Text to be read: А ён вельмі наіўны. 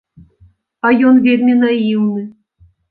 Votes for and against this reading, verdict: 2, 0, accepted